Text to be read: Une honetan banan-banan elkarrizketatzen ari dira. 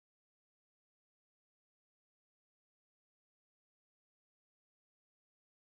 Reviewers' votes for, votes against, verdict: 0, 2, rejected